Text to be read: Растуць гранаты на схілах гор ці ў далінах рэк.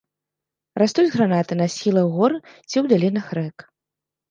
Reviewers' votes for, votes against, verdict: 2, 0, accepted